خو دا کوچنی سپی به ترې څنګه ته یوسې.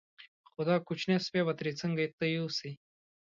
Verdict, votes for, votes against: accepted, 2, 1